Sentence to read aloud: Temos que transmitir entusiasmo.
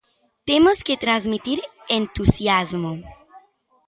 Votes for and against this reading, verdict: 2, 0, accepted